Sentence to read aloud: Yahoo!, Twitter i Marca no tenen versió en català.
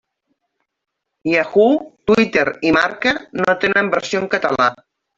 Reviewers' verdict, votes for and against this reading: accepted, 3, 1